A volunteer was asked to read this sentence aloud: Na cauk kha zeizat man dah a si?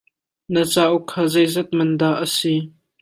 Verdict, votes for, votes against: accepted, 3, 0